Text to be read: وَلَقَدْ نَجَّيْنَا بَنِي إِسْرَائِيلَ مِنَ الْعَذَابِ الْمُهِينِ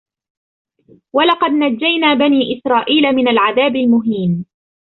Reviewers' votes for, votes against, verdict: 1, 2, rejected